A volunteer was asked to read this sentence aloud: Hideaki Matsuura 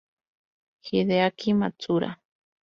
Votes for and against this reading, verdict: 0, 2, rejected